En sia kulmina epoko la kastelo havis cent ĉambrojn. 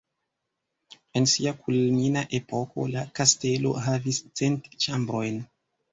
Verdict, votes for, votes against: rejected, 0, 2